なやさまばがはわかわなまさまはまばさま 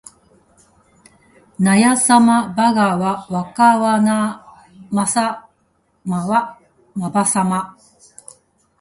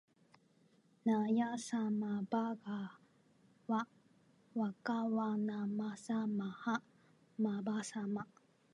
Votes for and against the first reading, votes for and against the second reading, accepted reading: 1, 2, 3, 1, second